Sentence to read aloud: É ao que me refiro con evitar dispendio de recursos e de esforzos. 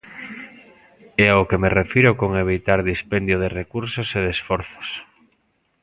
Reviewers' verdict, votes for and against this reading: accepted, 2, 0